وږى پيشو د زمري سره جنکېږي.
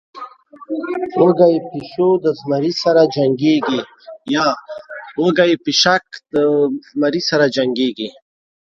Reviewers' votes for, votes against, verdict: 0, 2, rejected